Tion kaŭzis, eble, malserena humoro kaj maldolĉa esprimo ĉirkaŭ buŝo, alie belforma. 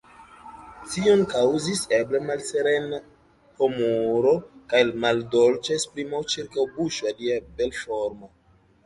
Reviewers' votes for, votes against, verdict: 0, 2, rejected